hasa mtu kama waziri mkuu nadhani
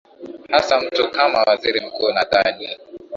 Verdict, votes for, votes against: accepted, 2, 0